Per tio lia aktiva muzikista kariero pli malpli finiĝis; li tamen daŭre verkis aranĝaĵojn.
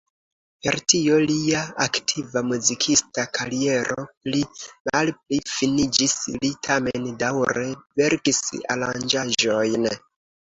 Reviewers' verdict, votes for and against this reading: accepted, 2, 0